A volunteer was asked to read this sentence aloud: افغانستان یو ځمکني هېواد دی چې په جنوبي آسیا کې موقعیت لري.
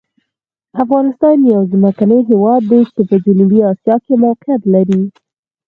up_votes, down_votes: 4, 2